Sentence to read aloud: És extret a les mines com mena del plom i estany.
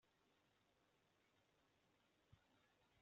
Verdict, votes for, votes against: rejected, 0, 2